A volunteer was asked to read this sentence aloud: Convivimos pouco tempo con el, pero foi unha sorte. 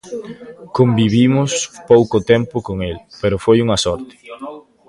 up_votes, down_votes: 2, 1